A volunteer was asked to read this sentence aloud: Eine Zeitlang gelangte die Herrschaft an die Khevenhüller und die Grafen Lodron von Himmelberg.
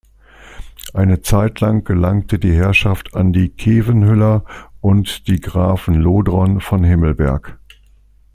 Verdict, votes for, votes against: accepted, 2, 0